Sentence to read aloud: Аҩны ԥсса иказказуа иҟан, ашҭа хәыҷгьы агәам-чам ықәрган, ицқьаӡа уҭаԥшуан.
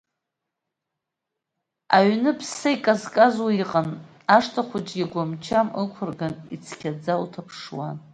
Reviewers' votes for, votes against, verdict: 2, 0, accepted